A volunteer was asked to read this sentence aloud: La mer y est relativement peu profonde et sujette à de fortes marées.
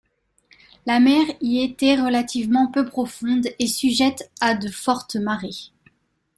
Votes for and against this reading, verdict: 0, 2, rejected